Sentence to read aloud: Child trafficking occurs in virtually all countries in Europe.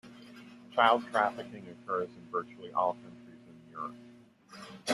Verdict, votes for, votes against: accepted, 2, 1